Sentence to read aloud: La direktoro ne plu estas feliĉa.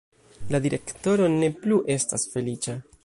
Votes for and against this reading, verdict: 1, 2, rejected